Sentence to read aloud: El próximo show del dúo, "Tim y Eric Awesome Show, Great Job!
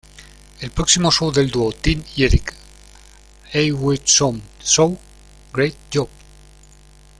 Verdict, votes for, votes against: rejected, 1, 2